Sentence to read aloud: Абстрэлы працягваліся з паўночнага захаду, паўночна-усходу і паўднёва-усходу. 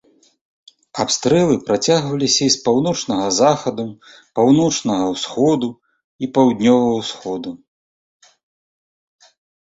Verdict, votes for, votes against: rejected, 0, 2